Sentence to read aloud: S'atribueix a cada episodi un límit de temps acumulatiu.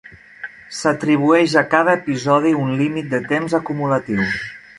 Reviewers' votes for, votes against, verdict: 3, 0, accepted